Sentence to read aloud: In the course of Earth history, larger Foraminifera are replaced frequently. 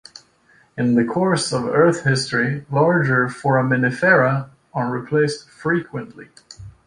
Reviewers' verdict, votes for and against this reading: accepted, 2, 0